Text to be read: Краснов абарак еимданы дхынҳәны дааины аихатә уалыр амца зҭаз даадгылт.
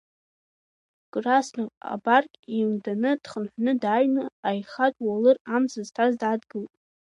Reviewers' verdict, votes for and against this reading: rejected, 1, 2